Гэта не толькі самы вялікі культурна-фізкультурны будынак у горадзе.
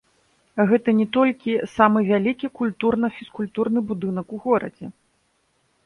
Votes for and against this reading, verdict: 0, 2, rejected